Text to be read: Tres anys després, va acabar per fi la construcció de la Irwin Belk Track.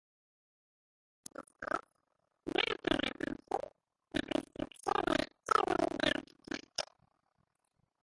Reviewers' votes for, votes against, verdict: 0, 3, rejected